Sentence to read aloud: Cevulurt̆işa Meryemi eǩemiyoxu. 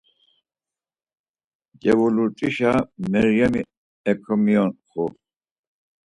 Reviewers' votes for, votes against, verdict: 4, 2, accepted